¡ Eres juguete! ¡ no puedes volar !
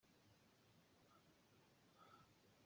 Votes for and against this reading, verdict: 0, 2, rejected